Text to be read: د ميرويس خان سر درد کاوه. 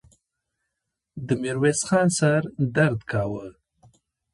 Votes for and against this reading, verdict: 2, 0, accepted